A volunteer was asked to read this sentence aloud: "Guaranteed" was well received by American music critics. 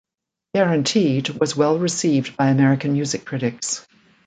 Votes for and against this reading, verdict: 2, 0, accepted